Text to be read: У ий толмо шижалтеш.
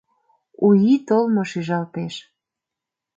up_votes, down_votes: 2, 0